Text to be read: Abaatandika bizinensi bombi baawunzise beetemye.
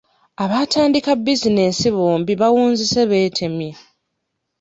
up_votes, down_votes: 2, 0